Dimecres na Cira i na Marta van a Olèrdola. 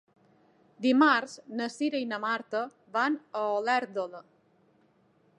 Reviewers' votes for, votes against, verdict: 0, 2, rejected